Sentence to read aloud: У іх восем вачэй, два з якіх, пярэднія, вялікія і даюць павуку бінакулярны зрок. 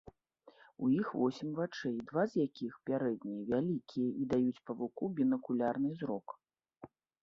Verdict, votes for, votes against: accepted, 2, 0